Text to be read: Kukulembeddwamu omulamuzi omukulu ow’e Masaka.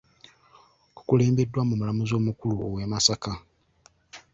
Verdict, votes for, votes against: accepted, 2, 1